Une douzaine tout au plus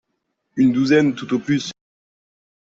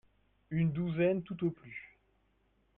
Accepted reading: first